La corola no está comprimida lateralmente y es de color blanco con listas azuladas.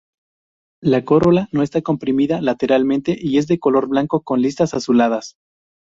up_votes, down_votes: 2, 0